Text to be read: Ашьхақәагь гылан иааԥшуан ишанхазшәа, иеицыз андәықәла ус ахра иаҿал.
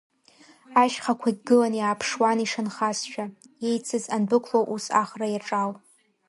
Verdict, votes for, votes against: rejected, 0, 2